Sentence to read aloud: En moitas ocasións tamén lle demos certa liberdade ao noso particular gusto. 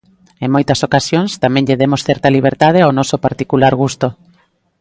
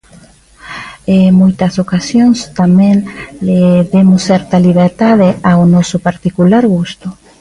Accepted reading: first